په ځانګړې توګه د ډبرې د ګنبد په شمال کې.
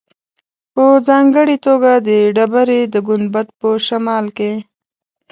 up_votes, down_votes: 2, 0